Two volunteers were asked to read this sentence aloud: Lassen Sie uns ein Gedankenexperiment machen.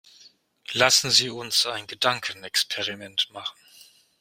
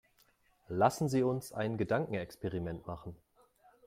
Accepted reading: second